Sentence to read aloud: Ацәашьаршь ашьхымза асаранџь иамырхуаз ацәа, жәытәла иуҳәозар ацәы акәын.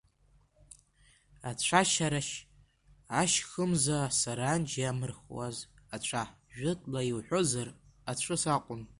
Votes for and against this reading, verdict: 0, 2, rejected